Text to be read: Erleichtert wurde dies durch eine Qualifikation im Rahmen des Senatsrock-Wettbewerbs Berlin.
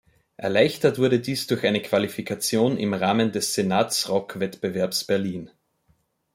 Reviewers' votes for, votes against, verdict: 2, 0, accepted